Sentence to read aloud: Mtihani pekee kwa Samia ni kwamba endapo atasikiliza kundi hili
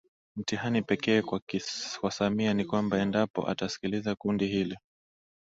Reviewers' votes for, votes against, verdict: 0, 2, rejected